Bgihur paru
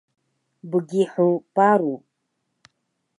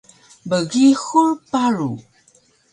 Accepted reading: second